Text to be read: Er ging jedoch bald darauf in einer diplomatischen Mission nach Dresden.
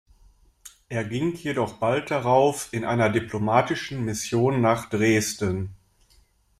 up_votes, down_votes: 1, 2